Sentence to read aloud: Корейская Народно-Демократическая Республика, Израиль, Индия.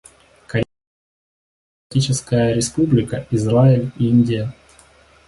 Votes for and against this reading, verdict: 0, 2, rejected